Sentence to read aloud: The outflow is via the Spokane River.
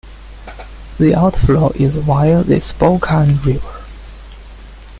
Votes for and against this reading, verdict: 2, 0, accepted